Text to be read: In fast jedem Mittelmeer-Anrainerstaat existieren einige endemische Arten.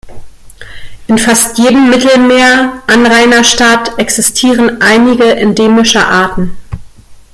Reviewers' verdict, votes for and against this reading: accepted, 2, 0